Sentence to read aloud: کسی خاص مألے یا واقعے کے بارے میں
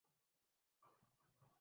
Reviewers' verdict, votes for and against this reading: rejected, 0, 4